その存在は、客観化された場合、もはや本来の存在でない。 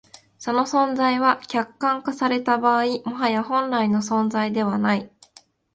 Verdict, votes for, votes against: rejected, 1, 2